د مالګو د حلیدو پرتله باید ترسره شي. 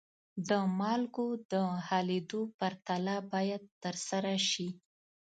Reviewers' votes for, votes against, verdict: 2, 0, accepted